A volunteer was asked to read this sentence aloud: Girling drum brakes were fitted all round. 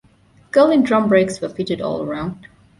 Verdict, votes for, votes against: accepted, 2, 1